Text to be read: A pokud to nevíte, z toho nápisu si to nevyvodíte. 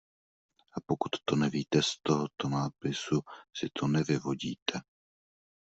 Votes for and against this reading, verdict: 0, 2, rejected